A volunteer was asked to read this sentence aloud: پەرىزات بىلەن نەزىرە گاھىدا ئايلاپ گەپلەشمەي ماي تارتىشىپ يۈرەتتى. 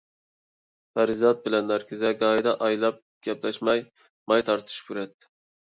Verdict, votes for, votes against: rejected, 0, 2